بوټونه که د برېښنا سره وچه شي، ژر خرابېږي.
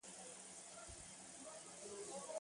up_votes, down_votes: 0, 6